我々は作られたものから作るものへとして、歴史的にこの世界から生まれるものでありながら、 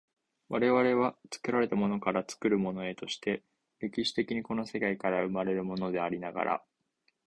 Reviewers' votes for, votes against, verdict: 2, 0, accepted